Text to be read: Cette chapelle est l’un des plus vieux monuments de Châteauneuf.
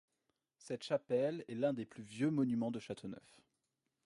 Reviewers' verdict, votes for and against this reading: rejected, 0, 2